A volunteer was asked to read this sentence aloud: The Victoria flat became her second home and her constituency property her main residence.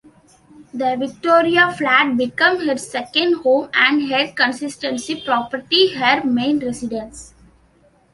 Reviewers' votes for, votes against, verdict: 0, 2, rejected